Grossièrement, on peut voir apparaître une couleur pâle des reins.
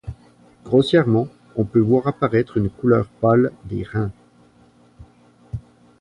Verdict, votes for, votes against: accepted, 2, 0